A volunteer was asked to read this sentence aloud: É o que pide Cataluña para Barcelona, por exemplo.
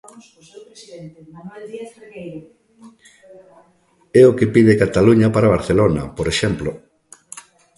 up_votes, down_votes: 1, 2